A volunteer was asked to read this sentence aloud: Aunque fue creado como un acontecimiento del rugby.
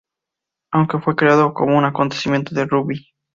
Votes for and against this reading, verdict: 0, 2, rejected